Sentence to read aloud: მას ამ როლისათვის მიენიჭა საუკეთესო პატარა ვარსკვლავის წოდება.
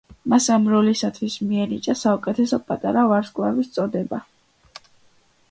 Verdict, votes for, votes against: accepted, 2, 0